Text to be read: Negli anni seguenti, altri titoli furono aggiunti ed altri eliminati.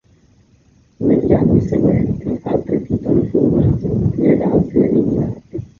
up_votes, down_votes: 1, 2